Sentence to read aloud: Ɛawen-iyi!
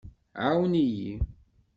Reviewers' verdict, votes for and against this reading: accepted, 2, 0